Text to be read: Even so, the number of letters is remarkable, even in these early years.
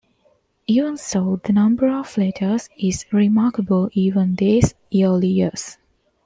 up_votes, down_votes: 1, 3